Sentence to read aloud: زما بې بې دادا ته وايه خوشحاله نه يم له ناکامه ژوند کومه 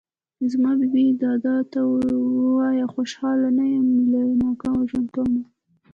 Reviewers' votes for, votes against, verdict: 2, 0, accepted